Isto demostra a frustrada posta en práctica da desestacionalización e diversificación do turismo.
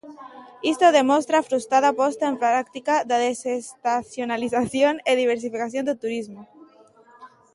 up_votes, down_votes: 0, 2